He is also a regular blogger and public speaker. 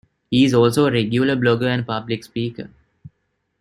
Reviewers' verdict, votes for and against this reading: rejected, 0, 2